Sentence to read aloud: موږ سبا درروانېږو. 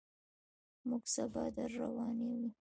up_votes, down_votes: 2, 1